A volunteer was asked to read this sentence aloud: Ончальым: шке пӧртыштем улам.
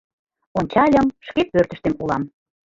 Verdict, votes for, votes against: rejected, 0, 2